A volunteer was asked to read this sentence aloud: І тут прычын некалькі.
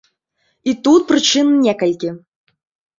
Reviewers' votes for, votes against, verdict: 2, 0, accepted